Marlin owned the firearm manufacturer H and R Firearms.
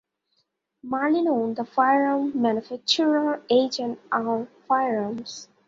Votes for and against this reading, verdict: 2, 0, accepted